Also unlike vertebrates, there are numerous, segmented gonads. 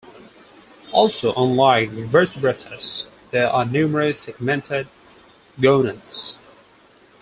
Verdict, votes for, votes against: rejected, 2, 4